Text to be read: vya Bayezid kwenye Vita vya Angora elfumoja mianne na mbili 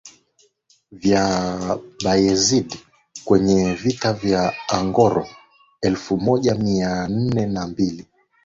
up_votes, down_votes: 3, 2